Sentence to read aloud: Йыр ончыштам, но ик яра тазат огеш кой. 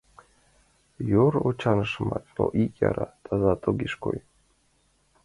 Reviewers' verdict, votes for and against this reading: rejected, 0, 2